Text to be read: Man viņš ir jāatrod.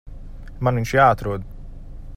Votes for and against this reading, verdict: 1, 2, rejected